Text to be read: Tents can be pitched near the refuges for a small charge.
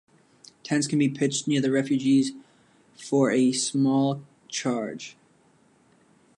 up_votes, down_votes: 1, 2